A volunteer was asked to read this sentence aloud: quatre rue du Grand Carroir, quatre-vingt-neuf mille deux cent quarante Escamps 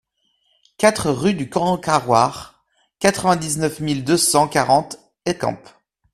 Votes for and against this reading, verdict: 1, 2, rejected